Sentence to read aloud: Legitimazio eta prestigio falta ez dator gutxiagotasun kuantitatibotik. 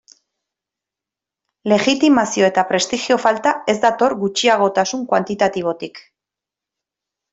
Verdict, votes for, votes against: rejected, 0, 2